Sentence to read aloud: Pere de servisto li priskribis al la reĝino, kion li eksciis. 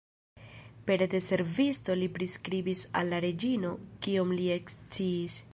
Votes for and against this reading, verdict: 1, 2, rejected